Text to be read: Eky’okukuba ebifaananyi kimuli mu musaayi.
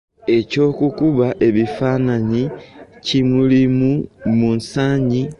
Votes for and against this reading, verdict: 0, 2, rejected